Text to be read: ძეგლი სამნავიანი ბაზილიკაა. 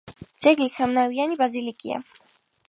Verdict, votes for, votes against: rejected, 2, 4